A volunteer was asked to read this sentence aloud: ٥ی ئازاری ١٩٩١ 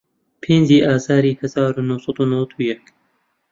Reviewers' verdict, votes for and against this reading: rejected, 0, 2